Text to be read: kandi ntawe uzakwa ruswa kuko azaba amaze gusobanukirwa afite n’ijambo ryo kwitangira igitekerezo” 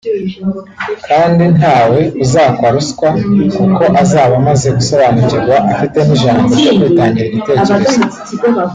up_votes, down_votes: 1, 2